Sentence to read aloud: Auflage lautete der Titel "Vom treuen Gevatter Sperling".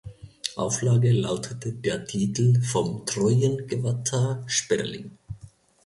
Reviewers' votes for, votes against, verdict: 0, 2, rejected